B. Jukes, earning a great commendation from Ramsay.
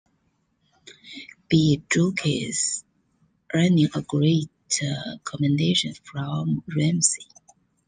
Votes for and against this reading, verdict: 0, 2, rejected